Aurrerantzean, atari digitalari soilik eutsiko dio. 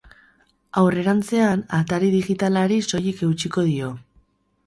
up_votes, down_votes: 4, 0